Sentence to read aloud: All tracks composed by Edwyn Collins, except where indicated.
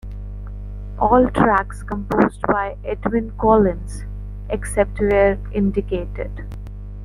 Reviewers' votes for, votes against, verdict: 2, 0, accepted